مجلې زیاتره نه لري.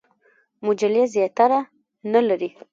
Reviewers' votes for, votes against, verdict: 0, 2, rejected